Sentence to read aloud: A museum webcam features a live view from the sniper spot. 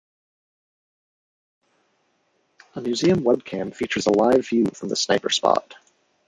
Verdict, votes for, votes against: rejected, 1, 2